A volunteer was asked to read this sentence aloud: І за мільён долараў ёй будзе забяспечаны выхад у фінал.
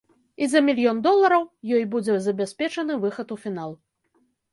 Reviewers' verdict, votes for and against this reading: accepted, 2, 0